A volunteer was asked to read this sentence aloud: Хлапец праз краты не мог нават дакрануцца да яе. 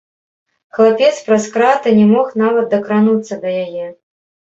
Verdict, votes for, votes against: accepted, 3, 0